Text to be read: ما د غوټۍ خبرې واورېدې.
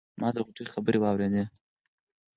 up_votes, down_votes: 2, 4